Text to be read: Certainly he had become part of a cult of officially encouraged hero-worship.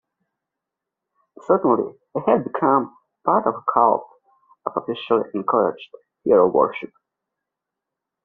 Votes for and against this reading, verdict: 0, 2, rejected